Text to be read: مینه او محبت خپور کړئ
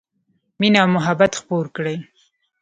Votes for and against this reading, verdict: 2, 0, accepted